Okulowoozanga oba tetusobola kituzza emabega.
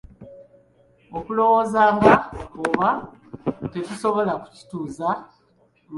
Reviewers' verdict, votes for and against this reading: rejected, 0, 3